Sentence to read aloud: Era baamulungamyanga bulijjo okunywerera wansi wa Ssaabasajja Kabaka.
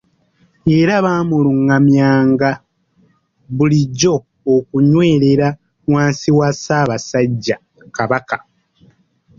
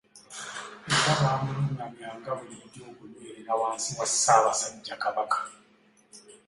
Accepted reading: second